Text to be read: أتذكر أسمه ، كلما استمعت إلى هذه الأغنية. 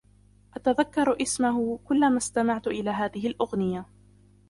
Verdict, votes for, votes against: rejected, 0, 2